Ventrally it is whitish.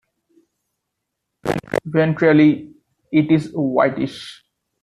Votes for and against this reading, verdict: 1, 2, rejected